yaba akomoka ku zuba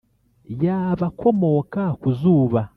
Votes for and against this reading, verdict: 0, 2, rejected